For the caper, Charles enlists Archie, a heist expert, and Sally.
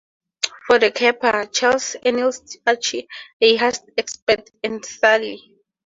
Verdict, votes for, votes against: accepted, 4, 0